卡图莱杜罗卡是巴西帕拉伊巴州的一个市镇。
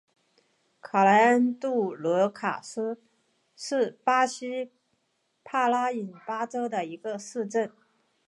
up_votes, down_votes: 2, 1